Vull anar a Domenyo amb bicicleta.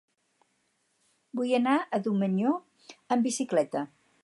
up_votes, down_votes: 0, 2